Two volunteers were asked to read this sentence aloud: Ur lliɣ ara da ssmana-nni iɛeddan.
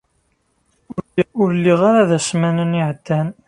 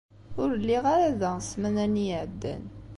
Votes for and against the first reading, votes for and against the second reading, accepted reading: 1, 2, 2, 0, second